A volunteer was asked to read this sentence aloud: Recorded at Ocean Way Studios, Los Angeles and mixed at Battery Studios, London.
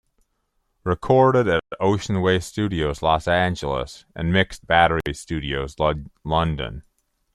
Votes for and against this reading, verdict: 1, 2, rejected